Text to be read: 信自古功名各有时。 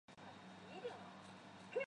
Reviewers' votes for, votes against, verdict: 0, 2, rejected